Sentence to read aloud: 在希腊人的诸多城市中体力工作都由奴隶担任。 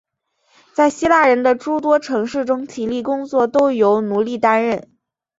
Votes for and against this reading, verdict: 5, 0, accepted